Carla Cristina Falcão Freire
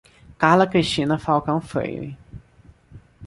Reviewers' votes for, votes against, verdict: 2, 0, accepted